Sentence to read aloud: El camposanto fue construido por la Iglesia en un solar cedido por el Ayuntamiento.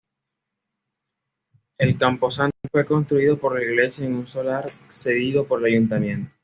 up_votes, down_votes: 2, 0